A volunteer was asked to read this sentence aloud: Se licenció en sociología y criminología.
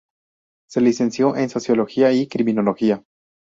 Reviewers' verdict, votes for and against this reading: rejected, 2, 2